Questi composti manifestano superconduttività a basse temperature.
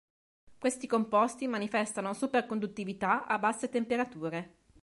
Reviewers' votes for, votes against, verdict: 2, 0, accepted